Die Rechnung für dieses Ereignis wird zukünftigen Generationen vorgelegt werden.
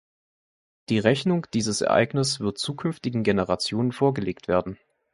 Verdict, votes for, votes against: accepted, 2, 0